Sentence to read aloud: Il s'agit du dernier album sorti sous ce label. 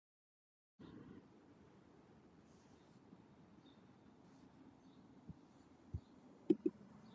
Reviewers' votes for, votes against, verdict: 0, 2, rejected